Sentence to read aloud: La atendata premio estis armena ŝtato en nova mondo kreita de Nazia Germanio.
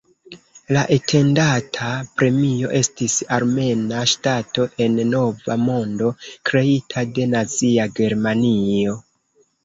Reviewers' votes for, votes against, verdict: 2, 3, rejected